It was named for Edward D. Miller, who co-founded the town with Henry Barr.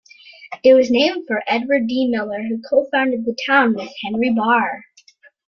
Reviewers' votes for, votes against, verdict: 2, 0, accepted